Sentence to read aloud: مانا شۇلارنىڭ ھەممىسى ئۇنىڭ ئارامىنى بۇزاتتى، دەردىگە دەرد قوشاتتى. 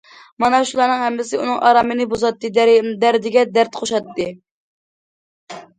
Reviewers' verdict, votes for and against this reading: rejected, 0, 2